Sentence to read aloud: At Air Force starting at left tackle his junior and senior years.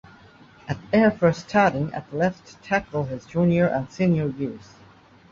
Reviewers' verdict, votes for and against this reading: accepted, 2, 0